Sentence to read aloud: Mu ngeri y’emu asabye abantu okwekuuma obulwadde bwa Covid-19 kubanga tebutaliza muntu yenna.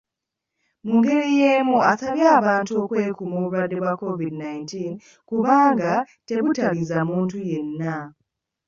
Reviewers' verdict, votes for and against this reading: rejected, 0, 2